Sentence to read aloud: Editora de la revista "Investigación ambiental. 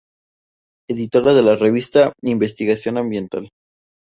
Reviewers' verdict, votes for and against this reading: accepted, 2, 0